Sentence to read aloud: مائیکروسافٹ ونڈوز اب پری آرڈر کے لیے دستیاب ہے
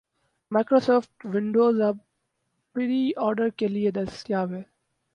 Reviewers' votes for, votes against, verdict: 0, 2, rejected